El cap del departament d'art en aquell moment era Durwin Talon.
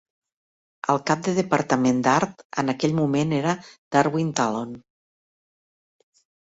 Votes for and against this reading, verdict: 1, 3, rejected